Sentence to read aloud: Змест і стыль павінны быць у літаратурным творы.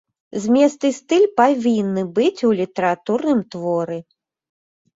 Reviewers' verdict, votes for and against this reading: accepted, 2, 0